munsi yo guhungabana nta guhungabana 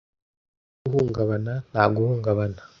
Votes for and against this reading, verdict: 0, 2, rejected